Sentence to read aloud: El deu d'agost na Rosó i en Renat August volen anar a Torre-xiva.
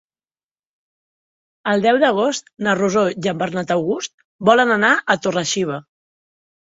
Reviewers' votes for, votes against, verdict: 0, 2, rejected